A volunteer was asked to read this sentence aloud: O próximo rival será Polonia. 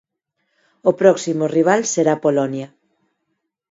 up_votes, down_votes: 4, 0